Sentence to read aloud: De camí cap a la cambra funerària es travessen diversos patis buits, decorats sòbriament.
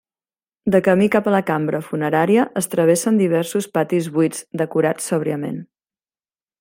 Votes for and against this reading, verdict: 1, 2, rejected